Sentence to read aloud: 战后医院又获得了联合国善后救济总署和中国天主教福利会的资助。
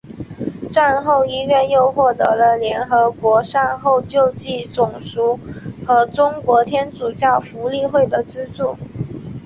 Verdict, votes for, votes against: accepted, 5, 2